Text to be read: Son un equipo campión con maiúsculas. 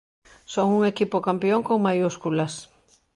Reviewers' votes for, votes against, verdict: 2, 0, accepted